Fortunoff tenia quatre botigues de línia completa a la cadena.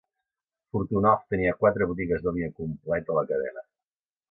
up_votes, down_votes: 1, 2